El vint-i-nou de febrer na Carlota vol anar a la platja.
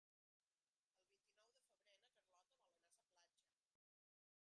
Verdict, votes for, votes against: rejected, 0, 2